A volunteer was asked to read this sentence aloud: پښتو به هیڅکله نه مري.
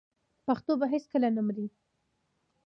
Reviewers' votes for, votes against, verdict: 2, 0, accepted